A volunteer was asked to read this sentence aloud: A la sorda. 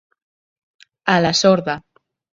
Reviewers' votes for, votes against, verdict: 2, 0, accepted